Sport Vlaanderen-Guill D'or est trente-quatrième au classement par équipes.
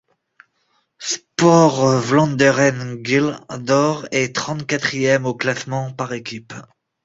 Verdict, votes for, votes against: accepted, 2, 0